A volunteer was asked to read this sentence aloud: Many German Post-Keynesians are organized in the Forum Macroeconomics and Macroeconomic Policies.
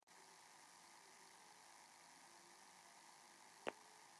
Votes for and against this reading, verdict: 0, 2, rejected